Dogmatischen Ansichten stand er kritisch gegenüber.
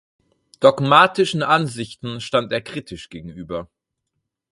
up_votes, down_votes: 4, 0